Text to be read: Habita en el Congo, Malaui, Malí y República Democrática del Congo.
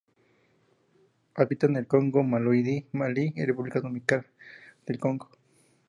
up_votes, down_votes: 0, 2